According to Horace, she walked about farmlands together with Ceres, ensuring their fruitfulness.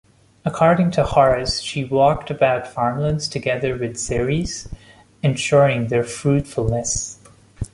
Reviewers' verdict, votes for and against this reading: accepted, 3, 1